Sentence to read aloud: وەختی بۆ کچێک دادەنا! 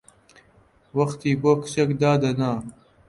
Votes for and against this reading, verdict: 2, 0, accepted